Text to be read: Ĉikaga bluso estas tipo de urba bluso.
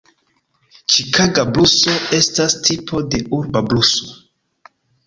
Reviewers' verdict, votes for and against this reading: accepted, 2, 1